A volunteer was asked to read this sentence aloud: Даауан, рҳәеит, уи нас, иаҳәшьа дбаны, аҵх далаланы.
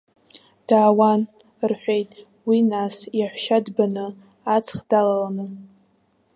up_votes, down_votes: 2, 0